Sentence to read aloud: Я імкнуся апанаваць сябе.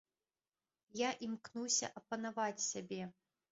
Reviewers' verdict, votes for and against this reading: accepted, 2, 0